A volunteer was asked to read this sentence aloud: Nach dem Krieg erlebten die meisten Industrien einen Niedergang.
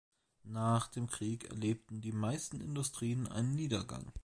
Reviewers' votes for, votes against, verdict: 2, 0, accepted